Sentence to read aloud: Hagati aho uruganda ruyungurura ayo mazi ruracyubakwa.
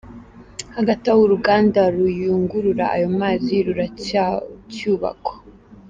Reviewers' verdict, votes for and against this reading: rejected, 0, 2